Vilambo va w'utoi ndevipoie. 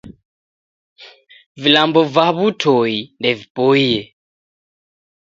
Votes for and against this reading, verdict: 2, 0, accepted